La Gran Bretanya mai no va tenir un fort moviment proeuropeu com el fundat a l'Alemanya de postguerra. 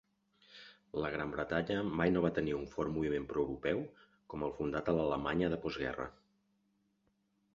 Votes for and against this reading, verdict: 2, 0, accepted